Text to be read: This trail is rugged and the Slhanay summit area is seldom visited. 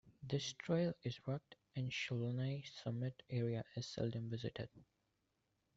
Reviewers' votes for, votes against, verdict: 2, 1, accepted